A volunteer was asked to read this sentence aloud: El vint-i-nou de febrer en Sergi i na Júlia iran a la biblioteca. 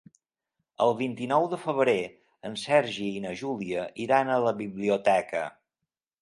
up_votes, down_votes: 4, 0